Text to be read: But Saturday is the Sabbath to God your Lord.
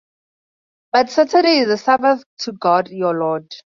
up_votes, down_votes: 2, 0